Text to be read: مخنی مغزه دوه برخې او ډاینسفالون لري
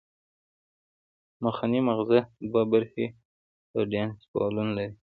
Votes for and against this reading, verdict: 2, 0, accepted